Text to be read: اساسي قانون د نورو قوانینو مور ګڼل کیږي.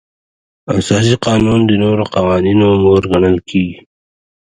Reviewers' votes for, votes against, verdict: 2, 1, accepted